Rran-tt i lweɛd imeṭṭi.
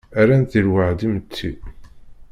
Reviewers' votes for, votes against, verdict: 0, 2, rejected